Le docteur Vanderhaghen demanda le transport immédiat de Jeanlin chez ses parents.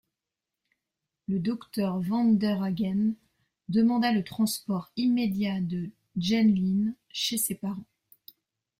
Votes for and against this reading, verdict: 1, 2, rejected